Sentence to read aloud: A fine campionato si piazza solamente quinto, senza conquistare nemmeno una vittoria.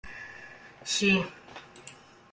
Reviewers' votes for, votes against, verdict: 1, 2, rejected